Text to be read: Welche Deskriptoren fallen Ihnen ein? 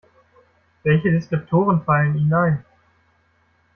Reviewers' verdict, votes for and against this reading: accepted, 2, 0